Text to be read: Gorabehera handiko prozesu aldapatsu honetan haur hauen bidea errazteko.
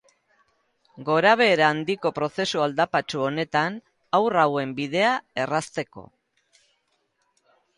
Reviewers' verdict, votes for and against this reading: rejected, 2, 2